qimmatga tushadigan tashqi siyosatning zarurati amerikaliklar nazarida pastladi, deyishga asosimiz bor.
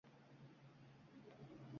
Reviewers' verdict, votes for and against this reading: rejected, 0, 2